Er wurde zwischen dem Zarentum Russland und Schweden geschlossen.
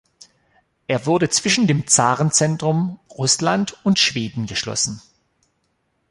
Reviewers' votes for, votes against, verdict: 3, 4, rejected